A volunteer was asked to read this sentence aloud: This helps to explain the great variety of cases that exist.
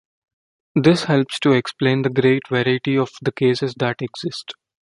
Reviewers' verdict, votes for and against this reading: accepted, 2, 1